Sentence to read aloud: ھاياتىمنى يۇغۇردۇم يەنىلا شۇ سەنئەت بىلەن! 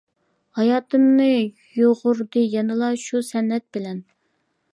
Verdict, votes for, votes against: rejected, 0, 2